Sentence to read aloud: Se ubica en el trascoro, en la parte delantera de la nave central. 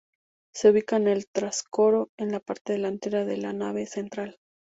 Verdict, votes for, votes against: accepted, 6, 0